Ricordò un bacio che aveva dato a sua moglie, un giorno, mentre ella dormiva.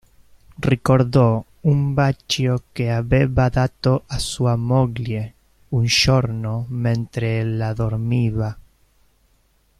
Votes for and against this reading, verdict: 0, 2, rejected